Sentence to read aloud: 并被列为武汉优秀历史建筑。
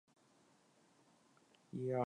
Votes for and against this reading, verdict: 0, 5, rejected